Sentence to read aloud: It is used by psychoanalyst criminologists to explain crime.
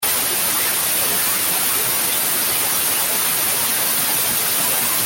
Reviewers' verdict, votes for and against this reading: rejected, 0, 2